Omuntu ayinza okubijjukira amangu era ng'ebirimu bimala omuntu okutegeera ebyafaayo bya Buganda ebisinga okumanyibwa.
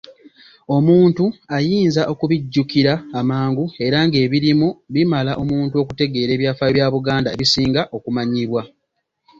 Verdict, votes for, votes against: accepted, 2, 0